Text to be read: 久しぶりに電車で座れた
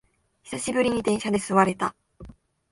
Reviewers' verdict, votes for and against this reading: accepted, 6, 0